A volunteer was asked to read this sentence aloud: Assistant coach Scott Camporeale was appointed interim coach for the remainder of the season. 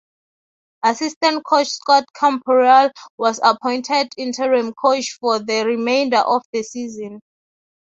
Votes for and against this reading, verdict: 3, 0, accepted